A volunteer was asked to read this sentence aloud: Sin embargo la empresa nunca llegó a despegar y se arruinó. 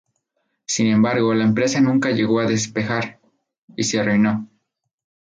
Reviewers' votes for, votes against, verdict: 0, 2, rejected